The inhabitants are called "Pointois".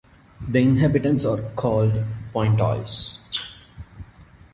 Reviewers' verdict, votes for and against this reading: accepted, 3, 1